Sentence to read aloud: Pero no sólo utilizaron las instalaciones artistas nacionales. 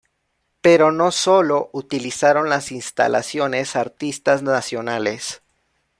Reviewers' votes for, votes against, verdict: 2, 0, accepted